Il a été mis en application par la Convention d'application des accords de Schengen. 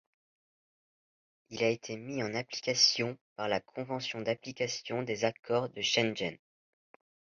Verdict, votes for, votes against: accepted, 2, 0